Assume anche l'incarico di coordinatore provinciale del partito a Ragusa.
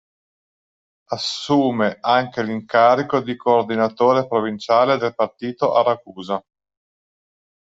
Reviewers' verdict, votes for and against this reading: accepted, 2, 0